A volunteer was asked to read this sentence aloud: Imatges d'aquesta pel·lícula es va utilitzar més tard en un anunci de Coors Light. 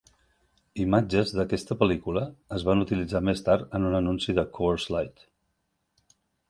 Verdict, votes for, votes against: rejected, 0, 3